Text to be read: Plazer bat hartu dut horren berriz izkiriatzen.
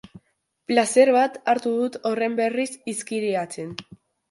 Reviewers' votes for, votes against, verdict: 2, 0, accepted